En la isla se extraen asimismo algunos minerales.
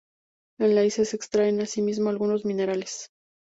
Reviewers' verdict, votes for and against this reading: accepted, 2, 0